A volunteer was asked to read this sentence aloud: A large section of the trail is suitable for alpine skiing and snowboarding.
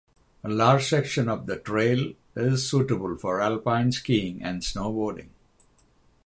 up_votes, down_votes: 6, 0